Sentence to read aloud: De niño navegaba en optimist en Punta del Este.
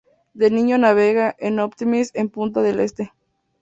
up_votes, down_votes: 0, 2